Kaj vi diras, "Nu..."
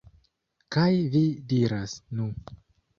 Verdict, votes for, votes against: rejected, 1, 2